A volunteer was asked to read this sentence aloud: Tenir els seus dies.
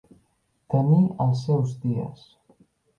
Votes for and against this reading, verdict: 1, 2, rejected